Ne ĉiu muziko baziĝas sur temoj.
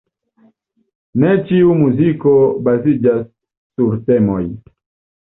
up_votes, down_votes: 2, 0